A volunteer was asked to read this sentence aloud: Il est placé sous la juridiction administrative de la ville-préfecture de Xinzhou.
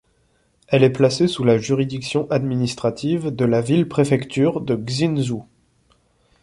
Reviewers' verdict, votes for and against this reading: rejected, 1, 2